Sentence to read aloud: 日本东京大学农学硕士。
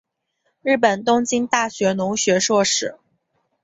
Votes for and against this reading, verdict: 4, 0, accepted